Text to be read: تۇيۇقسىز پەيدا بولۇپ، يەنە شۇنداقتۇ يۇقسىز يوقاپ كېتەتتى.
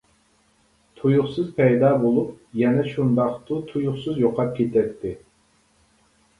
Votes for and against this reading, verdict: 0, 2, rejected